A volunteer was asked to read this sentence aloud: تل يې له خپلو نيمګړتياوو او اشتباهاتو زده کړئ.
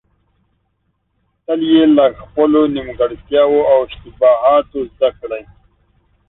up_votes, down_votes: 2, 0